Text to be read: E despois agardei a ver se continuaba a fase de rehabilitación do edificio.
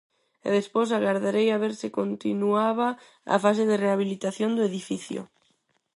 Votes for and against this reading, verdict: 0, 4, rejected